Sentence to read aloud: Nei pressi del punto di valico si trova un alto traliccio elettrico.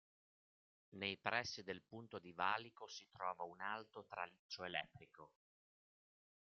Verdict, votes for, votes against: accepted, 2, 0